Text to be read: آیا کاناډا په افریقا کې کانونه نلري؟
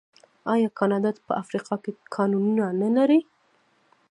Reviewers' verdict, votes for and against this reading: rejected, 0, 2